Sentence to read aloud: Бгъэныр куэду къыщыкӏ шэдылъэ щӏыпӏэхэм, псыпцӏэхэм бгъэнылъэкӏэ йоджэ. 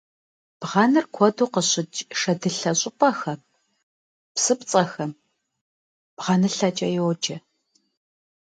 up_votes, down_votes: 2, 0